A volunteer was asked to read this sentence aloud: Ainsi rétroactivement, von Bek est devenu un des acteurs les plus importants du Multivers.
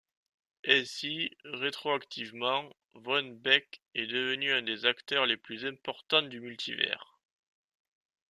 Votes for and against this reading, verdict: 2, 0, accepted